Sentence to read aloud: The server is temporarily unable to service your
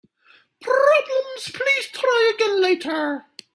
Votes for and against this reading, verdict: 0, 3, rejected